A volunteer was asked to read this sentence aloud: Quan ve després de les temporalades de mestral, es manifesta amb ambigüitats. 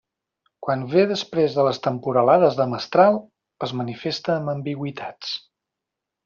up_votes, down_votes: 3, 0